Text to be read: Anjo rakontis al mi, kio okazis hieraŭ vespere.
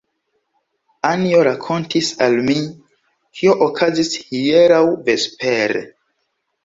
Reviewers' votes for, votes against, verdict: 2, 1, accepted